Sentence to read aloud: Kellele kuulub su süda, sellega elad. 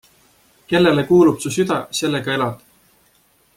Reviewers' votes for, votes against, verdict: 2, 0, accepted